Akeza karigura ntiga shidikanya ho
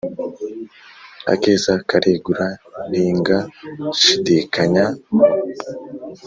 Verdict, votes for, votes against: rejected, 2, 3